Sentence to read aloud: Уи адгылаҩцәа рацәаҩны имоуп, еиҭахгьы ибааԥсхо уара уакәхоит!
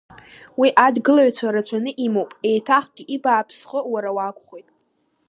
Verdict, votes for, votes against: accepted, 2, 0